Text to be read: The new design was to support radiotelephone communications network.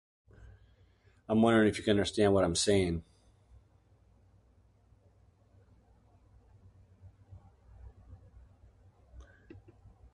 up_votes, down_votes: 0, 2